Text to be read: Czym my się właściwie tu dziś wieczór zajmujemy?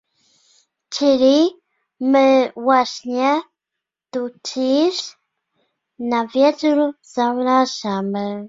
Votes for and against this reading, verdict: 0, 2, rejected